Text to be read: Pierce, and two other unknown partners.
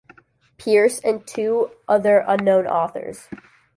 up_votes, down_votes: 0, 2